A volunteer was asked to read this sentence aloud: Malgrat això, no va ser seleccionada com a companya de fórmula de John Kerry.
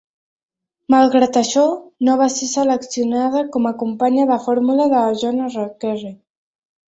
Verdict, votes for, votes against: rejected, 1, 2